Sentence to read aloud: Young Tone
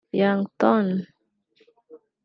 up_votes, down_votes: 0, 2